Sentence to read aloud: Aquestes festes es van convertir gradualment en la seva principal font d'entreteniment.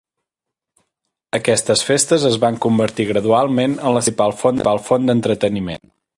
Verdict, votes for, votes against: rejected, 0, 4